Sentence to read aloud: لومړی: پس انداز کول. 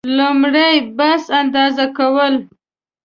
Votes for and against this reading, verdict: 1, 2, rejected